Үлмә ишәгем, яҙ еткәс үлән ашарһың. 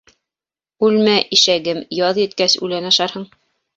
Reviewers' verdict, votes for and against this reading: rejected, 0, 2